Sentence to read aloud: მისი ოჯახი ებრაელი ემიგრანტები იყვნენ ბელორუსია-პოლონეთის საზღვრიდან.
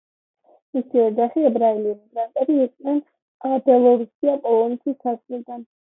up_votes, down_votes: 2, 0